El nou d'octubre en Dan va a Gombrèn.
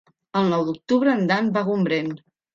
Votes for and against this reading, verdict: 3, 0, accepted